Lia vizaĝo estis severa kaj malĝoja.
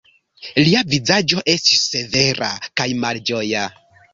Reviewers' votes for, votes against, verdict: 0, 2, rejected